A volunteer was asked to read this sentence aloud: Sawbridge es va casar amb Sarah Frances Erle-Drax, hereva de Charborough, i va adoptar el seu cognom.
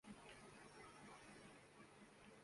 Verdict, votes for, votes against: rejected, 0, 2